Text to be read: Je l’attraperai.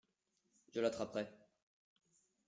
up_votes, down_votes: 2, 1